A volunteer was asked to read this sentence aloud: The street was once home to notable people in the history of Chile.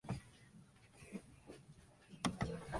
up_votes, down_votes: 0, 2